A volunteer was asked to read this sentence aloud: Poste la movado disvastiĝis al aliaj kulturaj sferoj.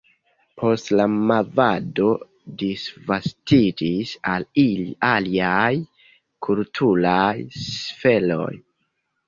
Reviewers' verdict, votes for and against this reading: accepted, 2, 0